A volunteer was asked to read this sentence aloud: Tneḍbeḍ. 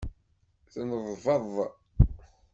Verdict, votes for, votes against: accepted, 2, 0